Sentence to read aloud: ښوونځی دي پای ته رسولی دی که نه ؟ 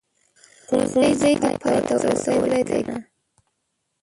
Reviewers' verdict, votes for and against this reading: rejected, 0, 2